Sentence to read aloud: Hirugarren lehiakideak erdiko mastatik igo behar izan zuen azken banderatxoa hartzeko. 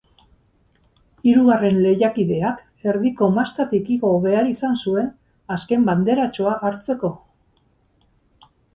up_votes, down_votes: 2, 0